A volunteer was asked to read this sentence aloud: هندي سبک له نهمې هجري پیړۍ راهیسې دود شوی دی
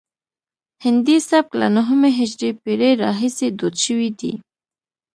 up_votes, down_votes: 2, 0